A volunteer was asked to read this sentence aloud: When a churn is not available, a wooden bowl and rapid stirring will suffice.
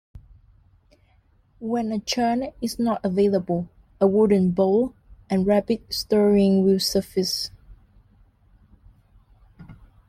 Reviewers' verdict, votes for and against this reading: rejected, 0, 2